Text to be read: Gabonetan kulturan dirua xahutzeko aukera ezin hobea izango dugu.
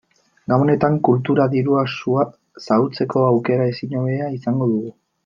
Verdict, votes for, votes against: rejected, 0, 2